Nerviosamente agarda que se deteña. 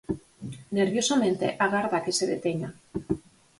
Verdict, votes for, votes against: accepted, 4, 0